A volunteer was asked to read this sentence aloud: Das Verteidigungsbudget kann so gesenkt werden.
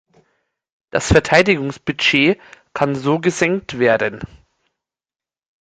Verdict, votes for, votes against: rejected, 1, 2